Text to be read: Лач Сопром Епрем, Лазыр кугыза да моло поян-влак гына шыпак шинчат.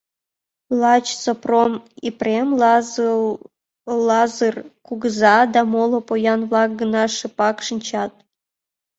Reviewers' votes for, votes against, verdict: 2, 3, rejected